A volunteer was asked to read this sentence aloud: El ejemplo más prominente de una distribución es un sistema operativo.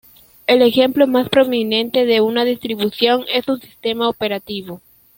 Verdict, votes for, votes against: accepted, 2, 0